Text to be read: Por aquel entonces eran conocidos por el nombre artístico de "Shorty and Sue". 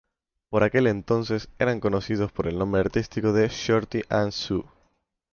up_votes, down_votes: 3, 0